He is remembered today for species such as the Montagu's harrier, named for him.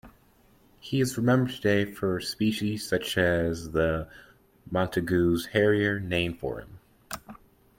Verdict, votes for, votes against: accepted, 2, 0